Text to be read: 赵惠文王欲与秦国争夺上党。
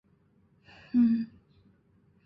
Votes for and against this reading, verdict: 1, 7, rejected